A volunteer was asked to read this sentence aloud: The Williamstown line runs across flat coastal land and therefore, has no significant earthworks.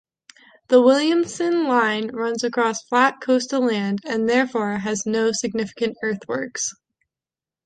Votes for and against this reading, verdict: 0, 2, rejected